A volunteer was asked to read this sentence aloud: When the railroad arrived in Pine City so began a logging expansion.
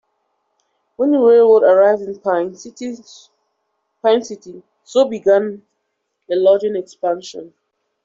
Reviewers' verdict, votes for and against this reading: rejected, 0, 2